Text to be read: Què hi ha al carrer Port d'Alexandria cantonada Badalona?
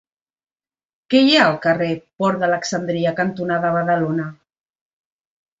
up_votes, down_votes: 2, 1